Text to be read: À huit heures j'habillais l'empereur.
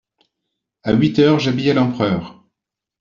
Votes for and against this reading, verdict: 2, 0, accepted